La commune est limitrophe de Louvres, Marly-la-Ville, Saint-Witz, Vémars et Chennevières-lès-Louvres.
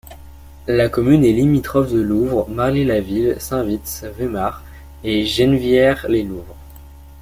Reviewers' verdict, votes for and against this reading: rejected, 1, 2